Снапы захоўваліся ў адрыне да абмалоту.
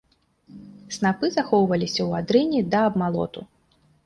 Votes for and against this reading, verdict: 2, 0, accepted